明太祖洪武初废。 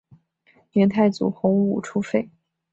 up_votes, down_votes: 2, 0